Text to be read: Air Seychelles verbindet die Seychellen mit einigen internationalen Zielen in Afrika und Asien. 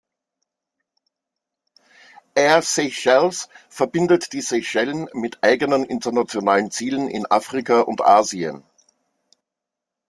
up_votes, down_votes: 1, 2